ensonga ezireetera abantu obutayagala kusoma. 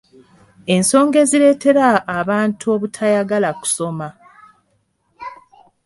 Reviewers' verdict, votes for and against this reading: accepted, 2, 0